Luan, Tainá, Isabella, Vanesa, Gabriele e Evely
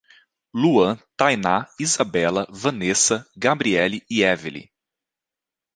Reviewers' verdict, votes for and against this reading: rejected, 1, 2